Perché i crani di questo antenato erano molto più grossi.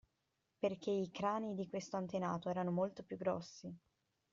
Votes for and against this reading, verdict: 2, 0, accepted